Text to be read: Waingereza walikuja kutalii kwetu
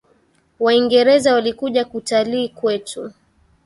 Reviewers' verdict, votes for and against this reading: rejected, 1, 2